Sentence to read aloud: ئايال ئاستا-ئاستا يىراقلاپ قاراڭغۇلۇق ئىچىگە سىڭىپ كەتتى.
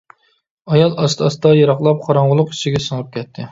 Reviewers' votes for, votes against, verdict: 2, 0, accepted